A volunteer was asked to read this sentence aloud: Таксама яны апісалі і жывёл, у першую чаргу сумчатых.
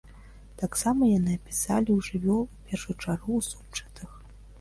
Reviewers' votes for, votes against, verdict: 1, 2, rejected